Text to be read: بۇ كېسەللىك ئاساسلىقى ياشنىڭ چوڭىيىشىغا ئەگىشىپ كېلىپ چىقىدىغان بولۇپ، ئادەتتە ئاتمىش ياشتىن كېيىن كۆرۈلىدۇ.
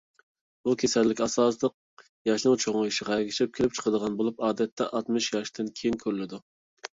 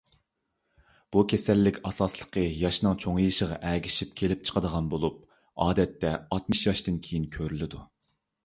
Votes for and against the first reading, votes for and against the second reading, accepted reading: 0, 2, 2, 0, second